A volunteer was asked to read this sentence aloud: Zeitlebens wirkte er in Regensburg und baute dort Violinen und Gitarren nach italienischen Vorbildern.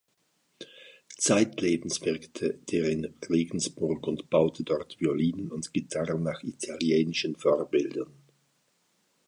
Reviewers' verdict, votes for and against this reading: rejected, 0, 2